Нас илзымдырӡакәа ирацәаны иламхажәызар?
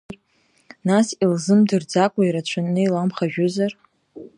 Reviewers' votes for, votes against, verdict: 2, 0, accepted